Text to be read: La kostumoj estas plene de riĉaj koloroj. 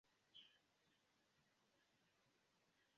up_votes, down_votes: 2, 1